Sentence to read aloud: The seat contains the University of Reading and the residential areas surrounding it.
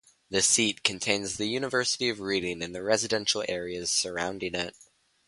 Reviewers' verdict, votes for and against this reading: rejected, 0, 2